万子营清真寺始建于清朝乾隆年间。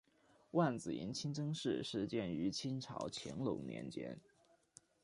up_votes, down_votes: 1, 2